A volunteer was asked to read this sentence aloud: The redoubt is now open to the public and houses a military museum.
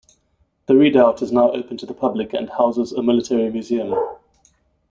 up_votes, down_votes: 1, 2